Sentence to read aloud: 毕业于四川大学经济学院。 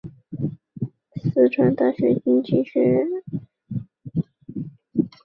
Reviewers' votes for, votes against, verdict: 3, 2, accepted